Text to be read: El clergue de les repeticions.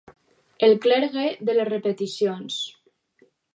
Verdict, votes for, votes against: accepted, 4, 0